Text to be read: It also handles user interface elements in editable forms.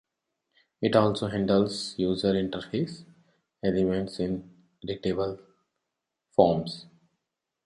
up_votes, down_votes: 2, 1